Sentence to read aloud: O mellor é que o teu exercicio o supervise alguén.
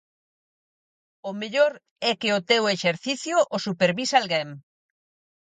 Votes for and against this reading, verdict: 4, 0, accepted